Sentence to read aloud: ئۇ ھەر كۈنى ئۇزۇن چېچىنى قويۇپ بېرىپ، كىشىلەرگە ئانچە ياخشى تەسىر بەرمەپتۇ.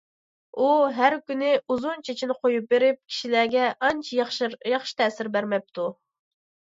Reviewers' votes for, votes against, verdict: 2, 1, accepted